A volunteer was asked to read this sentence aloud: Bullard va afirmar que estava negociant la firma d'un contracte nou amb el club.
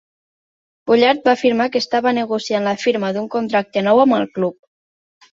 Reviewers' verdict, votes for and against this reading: accepted, 2, 0